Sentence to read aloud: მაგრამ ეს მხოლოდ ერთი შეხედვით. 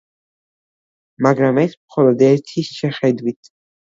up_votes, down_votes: 2, 0